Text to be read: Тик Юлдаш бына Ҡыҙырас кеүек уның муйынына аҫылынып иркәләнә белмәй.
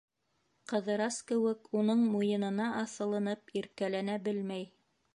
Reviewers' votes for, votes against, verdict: 0, 2, rejected